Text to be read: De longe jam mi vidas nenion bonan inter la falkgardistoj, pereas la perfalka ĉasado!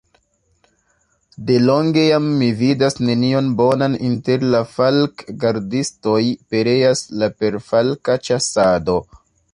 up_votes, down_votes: 1, 2